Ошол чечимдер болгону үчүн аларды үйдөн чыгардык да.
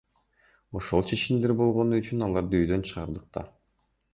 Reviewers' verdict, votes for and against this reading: accepted, 2, 0